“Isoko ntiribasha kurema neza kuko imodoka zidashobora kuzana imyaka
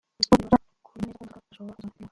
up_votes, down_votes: 0, 2